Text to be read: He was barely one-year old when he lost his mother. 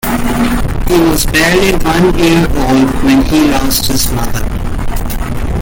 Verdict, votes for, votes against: rejected, 0, 2